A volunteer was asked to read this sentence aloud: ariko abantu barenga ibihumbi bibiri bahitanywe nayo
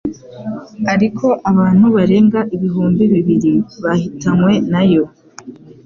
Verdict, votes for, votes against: accepted, 2, 0